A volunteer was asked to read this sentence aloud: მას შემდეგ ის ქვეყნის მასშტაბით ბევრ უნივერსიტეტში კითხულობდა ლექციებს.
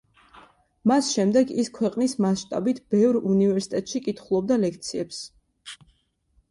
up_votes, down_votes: 2, 0